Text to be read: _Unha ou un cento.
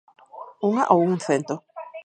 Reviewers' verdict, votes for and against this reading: rejected, 2, 4